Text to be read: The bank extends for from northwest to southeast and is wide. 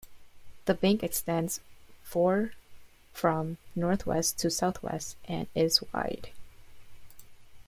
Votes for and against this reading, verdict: 1, 2, rejected